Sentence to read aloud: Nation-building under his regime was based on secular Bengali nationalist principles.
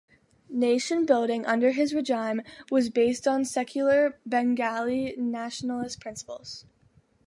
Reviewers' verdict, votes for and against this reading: rejected, 1, 2